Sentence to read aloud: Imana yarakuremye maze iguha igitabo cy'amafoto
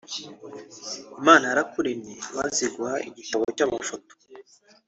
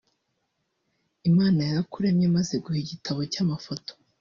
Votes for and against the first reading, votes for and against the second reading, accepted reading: 2, 1, 0, 2, first